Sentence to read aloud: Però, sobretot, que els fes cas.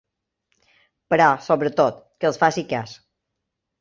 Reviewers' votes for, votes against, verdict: 1, 2, rejected